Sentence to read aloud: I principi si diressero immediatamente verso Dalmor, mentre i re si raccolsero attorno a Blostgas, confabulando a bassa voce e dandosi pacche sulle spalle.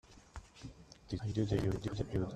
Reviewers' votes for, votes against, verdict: 0, 2, rejected